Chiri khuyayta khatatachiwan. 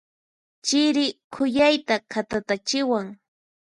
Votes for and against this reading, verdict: 4, 0, accepted